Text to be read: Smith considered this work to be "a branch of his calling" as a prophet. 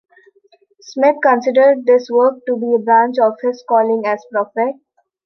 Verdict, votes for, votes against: rejected, 0, 2